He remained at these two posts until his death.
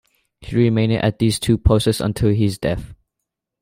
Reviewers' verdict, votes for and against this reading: rejected, 1, 2